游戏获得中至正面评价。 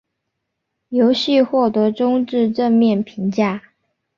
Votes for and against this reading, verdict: 2, 0, accepted